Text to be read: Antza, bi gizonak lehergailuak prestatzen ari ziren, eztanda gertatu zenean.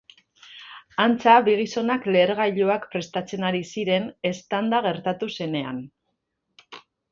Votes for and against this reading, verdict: 3, 0, accepted